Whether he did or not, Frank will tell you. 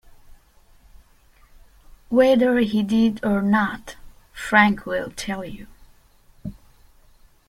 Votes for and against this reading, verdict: 2, 0, accepted